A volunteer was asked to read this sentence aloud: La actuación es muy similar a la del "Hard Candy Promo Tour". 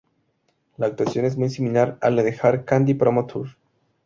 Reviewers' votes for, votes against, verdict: 2, 0, accepted